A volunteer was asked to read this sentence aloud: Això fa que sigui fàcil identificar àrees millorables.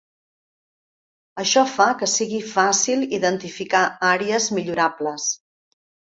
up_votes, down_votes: 2, 0